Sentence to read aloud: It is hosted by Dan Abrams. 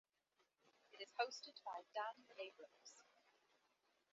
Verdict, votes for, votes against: rejected, 0, 2